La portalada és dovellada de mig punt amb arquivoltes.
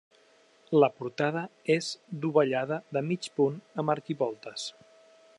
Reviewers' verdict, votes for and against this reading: rejected, 0, 3